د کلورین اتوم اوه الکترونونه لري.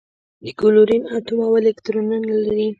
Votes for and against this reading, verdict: 1, 2, rejected